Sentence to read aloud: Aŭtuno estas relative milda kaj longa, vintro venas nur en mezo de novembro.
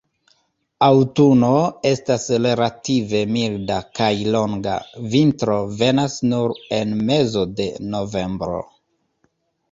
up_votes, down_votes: 1, 2